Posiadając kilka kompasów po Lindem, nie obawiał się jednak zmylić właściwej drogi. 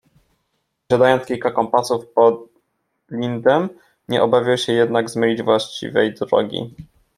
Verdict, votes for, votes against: rejected, 1, 2